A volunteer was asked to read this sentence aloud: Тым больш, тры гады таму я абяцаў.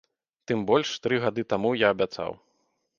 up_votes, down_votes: 2, 0